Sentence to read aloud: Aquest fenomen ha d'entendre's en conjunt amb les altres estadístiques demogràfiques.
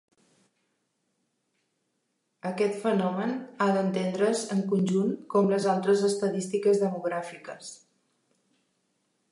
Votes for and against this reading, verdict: 1, 2, rejected